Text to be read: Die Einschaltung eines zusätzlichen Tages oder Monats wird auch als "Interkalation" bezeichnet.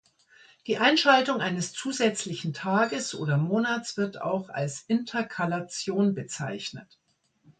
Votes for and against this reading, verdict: 2, 0, accepted